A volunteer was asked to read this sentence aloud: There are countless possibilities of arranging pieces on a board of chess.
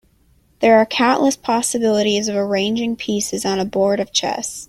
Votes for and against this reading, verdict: 2, 0, accepted